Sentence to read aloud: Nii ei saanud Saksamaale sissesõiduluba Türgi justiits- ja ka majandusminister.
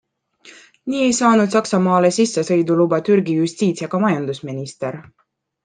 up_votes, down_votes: 2, 0